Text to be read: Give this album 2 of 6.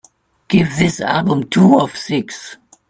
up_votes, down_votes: 0, 2